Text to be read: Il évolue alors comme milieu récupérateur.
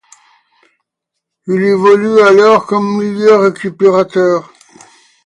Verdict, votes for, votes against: accepted, 2, 0